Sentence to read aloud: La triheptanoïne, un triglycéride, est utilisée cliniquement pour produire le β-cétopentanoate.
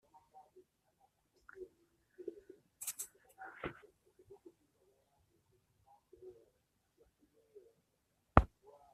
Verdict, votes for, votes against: rejected, 0, 2